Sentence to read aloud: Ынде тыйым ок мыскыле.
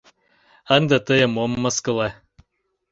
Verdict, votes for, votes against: rejected, 1, 2